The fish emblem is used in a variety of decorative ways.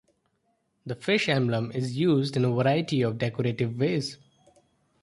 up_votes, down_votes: 2, 0